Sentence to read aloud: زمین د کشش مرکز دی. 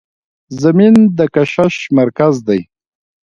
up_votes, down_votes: 1, 2